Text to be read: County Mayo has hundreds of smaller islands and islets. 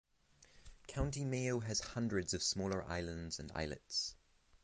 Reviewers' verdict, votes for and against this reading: accepted, 6, 0